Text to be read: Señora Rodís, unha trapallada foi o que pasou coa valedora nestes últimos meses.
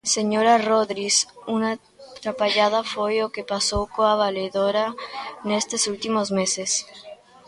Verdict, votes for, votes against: rejected, 0, 2